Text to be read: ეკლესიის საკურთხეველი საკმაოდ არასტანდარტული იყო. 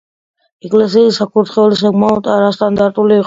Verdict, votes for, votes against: accepted, 2, 0